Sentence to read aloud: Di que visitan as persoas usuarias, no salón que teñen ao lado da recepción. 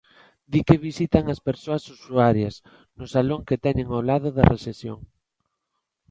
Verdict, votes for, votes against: accepted, 3, 0